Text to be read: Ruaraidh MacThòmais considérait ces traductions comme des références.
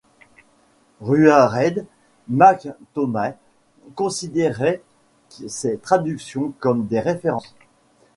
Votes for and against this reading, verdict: 1, 2, rejected